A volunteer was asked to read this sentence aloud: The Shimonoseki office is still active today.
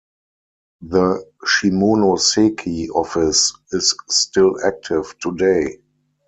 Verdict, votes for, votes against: accepted, 4, 0